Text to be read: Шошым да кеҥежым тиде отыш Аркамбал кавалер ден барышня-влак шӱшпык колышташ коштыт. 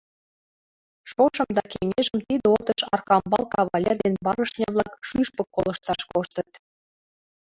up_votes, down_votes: 0, 2